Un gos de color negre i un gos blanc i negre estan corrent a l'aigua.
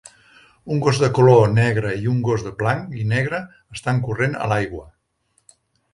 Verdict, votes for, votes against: rejected, 1, 2